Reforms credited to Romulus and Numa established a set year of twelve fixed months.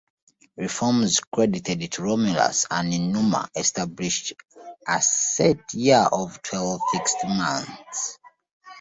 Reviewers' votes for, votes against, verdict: 1, 2, rejected